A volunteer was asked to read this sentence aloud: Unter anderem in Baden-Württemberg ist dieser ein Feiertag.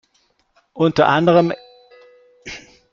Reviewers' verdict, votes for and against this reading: rejected, 0, 2